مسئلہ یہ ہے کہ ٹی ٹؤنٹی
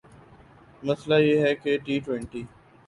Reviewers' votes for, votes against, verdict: 15, 1, accepted